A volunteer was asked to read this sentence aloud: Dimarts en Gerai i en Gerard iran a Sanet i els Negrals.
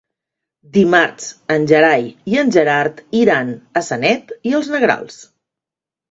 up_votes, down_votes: 2, 1